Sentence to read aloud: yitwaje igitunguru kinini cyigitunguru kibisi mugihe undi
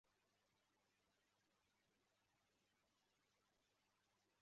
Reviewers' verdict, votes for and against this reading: rejected, 0, 2